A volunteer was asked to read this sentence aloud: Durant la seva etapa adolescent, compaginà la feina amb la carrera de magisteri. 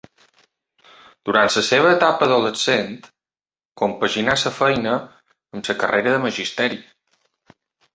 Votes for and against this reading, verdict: 3, 1, accepted